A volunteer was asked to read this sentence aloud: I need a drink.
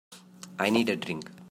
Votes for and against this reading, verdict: 1, 2, rejected